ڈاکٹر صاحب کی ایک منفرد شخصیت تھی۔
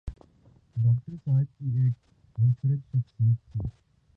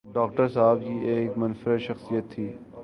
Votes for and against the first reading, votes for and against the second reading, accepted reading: 1, 6, 5, 0, second